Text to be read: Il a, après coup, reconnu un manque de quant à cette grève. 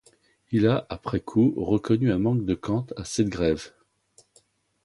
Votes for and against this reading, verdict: 2, 0, accepted